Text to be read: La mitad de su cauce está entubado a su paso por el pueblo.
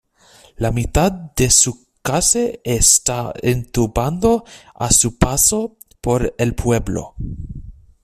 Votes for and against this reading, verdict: 0, 2, rejected